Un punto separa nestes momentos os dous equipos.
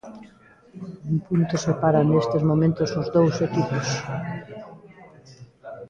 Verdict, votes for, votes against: accepted, 2, 0